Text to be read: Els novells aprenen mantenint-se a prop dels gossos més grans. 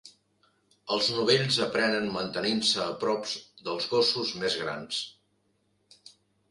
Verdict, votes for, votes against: rejected, 1, 2